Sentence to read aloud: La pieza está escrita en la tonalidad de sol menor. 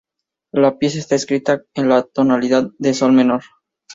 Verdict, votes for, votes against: accepted, 2, 0